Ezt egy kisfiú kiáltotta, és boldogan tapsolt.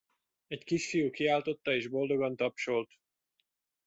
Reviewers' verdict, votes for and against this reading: rejected, 0, 2